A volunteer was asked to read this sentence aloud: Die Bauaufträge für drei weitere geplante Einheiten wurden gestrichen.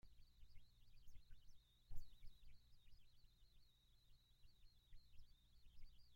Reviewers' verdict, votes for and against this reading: rejected, 0, 2